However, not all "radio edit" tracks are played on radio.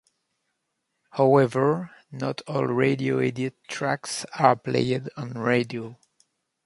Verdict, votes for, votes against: accepted, 2, 0